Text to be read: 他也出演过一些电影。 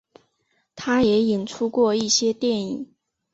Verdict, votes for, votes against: accepted, 2, 1